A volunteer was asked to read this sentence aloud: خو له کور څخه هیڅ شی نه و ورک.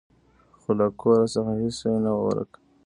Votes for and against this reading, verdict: 3, 2, accepted